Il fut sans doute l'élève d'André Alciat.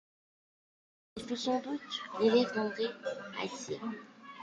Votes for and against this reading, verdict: 0, 2, rejected